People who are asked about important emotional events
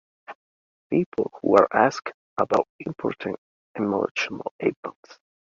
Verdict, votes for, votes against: rejected, 1, 2